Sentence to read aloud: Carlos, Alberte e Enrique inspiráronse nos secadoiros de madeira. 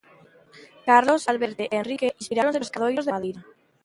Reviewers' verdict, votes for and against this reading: rejected, 0, 2